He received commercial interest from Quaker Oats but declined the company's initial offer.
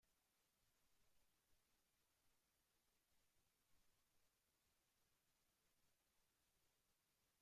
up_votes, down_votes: 0, 2